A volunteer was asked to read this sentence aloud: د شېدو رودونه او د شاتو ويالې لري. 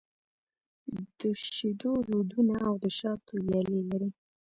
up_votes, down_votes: 1, 2